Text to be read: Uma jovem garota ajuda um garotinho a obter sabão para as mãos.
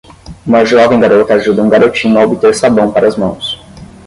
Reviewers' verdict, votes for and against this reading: rejected, 0, 5